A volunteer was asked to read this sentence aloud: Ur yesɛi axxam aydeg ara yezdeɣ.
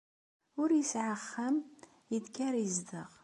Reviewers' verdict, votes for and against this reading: accepted, 2, 0